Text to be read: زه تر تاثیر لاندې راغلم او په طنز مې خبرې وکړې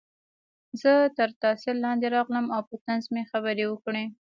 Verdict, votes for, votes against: rejected, 0, 2